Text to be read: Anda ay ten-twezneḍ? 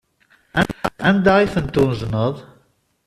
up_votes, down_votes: 0, 2